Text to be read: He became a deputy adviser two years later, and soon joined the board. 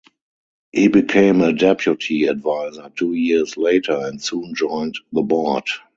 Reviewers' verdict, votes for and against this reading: accepted, 4, 0